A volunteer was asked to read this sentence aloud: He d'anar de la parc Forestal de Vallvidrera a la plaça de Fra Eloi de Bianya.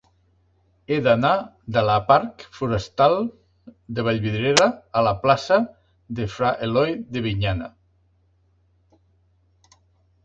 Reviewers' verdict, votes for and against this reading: rejected, 0, 2